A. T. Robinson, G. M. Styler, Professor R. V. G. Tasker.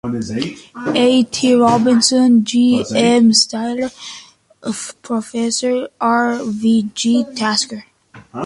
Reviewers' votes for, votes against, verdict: 3, 1, accepted